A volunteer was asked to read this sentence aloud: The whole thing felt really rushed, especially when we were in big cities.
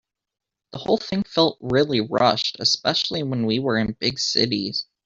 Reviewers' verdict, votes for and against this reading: rejected, 1, 2